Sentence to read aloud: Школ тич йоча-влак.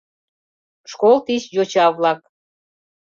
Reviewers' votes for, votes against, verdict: 2, 0, accepted